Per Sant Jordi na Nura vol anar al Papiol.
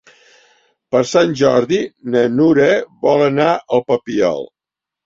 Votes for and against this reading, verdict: 3, 0, accepted